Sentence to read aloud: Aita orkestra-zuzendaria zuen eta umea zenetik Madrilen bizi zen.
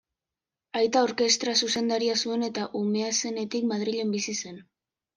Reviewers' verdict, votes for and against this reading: accepted, 2, 0